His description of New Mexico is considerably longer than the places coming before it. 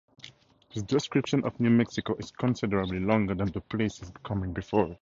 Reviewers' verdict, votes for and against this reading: accepted, 6, 0